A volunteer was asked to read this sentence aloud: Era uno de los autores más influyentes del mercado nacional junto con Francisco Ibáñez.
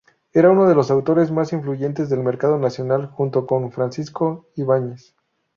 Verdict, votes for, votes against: rejected, 0, 2